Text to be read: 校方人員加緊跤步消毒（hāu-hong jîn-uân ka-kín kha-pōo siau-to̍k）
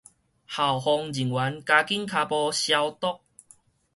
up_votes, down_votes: 4, 0